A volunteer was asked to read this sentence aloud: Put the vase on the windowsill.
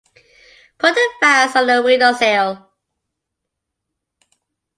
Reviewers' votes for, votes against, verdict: 2, 1, accepted